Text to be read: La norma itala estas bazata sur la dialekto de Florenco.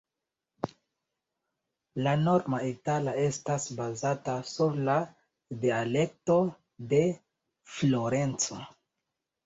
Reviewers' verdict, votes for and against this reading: rejected, 0, 2